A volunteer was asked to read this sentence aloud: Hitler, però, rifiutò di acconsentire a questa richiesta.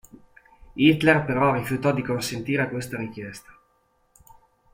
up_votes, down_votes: 2, 0